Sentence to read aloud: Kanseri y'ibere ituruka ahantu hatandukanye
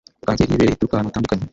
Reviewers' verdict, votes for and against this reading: rejected, 1, 2